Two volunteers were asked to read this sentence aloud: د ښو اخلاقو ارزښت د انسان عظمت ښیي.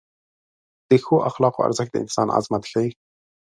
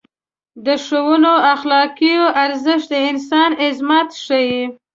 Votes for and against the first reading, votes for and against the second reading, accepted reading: 2, 0, 1, 2, first